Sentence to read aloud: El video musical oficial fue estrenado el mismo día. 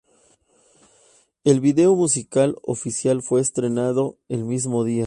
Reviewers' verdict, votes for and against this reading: accepted, 2, 0